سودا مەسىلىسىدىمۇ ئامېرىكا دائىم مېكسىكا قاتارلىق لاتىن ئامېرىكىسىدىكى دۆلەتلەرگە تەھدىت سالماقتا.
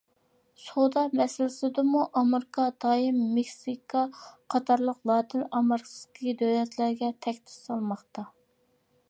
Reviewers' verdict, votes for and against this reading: rejected, 0, 2